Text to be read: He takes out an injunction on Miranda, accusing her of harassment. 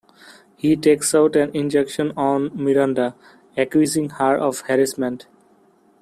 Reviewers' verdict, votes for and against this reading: accepted, 2, 0